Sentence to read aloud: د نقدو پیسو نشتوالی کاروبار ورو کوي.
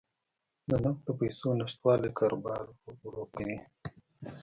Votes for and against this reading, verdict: 1, 2, rejected